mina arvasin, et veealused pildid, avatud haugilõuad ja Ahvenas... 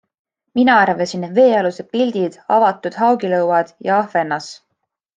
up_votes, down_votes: 2, 0